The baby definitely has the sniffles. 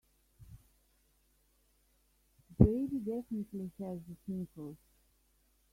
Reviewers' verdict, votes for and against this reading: rejected, 1, 2